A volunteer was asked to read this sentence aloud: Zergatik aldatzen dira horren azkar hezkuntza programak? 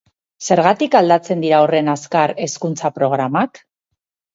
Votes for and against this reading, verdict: 6, 0, accepted